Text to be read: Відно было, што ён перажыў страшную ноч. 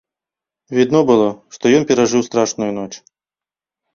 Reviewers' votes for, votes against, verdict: 2, 0, accepted